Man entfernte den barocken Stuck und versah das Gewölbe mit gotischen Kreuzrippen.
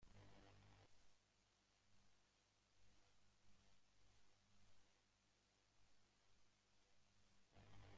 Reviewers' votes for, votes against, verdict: 0, 2, rejected